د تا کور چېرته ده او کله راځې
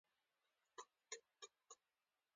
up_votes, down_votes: 2, 0